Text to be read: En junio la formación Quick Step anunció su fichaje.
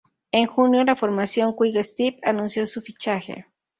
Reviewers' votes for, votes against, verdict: 0, 2, rejected